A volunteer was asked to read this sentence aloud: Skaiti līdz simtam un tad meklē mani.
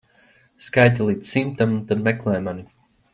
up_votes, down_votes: 0, 2